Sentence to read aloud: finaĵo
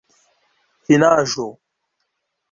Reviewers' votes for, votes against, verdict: 2, 0, accepted